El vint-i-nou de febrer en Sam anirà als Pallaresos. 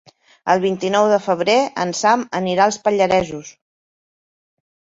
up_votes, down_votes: 2, 0